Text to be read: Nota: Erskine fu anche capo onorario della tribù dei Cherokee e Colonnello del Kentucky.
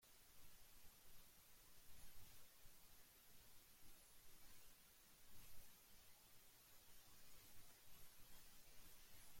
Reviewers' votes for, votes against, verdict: 0, 2, rejected